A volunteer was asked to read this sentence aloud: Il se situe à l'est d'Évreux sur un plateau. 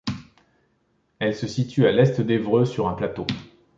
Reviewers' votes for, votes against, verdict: 0, 2, rejected